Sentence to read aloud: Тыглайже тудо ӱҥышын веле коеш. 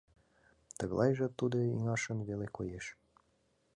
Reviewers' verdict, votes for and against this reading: rejected, 0, 2